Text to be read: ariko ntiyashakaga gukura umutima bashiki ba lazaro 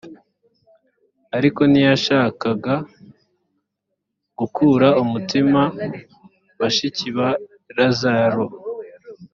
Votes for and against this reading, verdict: 2, 0, accepted